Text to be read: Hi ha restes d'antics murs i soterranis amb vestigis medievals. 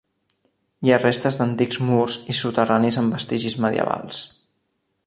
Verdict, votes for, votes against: accepted, 3, 0